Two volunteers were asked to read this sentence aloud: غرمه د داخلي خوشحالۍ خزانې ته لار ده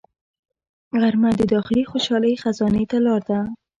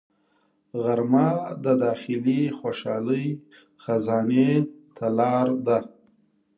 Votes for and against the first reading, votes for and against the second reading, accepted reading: 1, 2, 2, 0, second